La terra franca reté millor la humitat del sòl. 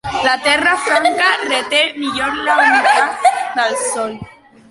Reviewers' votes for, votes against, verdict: 2, 1, accepted